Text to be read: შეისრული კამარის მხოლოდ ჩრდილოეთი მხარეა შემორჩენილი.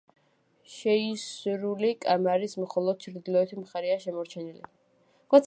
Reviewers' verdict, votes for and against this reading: rejected, 1, 2